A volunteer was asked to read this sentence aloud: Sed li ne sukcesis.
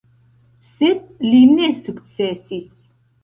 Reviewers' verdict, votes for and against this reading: rejected, 1, 2